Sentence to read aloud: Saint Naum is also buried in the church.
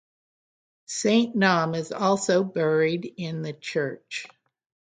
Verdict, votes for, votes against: accepted, 6, 0